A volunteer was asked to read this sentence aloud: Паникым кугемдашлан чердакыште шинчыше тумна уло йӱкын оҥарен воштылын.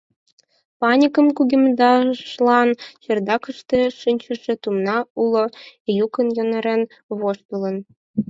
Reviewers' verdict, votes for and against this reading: rejected, 2, 4